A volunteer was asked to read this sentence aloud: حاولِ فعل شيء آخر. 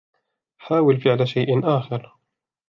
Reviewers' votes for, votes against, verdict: 1, 2, rejected